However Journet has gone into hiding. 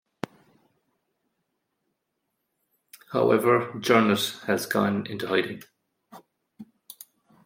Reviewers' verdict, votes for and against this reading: rejected, 1, 2